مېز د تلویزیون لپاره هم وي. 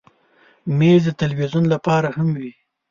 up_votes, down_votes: 2, 0